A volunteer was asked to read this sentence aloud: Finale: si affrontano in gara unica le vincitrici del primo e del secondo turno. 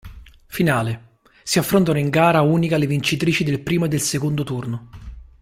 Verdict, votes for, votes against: accepted, 2, 0